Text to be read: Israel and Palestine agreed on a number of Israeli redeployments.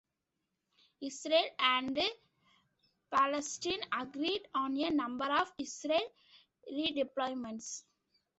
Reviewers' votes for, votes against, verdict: 2, 1, accepted